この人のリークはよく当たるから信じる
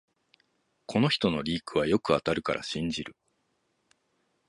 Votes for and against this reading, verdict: 2, 0, accepted